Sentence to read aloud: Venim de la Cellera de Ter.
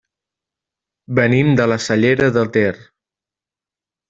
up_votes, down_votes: 2, 0